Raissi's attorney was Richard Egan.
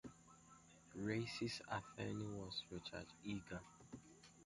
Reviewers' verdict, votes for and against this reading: rejected, 0, 2